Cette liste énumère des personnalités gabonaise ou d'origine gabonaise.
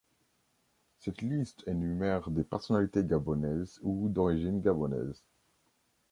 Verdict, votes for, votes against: accepted, 2, 1